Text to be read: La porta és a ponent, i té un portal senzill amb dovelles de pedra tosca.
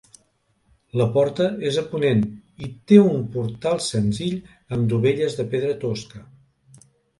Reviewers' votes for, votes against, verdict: 2, 0, accepted